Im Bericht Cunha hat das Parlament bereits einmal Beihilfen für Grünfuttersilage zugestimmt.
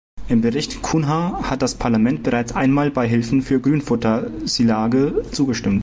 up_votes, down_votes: 1, 2